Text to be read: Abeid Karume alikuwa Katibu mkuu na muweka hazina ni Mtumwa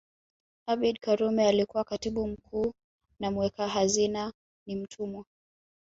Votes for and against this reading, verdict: 2, 1, accepted